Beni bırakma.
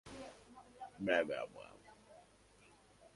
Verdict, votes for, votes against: rejected, 0, 2